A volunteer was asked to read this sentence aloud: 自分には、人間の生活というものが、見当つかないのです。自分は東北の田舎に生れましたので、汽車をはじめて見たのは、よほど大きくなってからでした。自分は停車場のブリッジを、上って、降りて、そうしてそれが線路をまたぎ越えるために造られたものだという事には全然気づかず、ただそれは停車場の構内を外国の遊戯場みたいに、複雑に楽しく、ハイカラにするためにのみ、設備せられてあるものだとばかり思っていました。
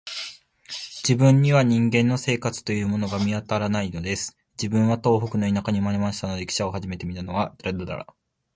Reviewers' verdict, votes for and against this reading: rejected, 0, 2